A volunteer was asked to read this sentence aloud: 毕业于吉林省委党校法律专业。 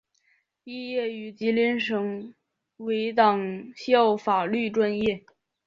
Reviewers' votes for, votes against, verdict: 4, 0, accepted